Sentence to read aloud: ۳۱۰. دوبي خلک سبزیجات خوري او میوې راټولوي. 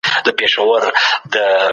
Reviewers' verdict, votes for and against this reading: rejected, 0, 2